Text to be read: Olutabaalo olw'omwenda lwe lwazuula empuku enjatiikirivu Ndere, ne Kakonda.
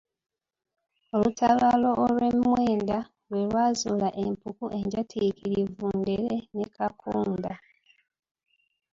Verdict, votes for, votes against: rejected, 1, 2